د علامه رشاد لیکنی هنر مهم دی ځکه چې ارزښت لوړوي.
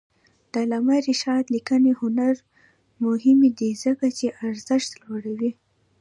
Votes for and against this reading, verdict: 1, 2, rejected